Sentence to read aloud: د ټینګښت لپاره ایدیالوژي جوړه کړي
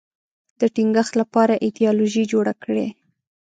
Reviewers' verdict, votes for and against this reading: accepted, 2, 0